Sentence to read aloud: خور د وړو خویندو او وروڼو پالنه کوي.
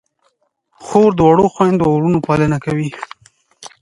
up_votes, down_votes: 2, 0